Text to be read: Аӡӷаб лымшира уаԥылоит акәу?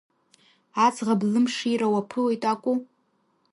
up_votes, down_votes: 2, 0